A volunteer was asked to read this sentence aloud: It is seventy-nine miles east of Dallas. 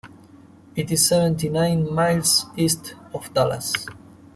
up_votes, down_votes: 0, 3